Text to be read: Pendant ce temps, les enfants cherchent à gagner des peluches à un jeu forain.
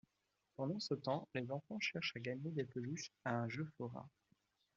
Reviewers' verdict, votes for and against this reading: accepted, 2, 1